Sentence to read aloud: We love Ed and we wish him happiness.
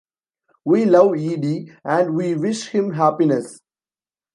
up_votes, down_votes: 0, 2